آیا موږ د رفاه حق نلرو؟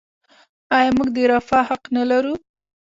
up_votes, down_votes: 2, 0